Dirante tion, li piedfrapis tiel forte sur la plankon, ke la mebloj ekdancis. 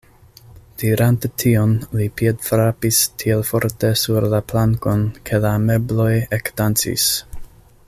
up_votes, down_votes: 2, 0